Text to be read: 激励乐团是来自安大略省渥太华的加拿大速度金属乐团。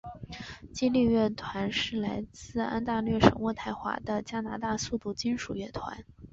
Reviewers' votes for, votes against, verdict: 3, 0, accepted